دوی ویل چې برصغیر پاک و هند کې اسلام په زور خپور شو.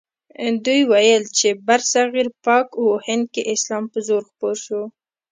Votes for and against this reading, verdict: 2, 0, accepted